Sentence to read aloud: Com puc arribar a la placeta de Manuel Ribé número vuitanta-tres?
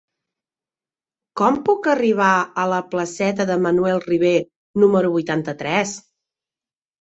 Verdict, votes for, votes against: accepted, 2, 0